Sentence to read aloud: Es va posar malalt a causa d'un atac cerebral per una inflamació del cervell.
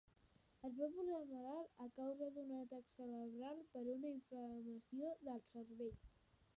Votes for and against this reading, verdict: 0, 2, rejected